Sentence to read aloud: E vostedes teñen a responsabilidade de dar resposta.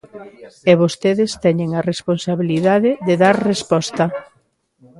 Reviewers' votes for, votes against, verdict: 2, 1, accepted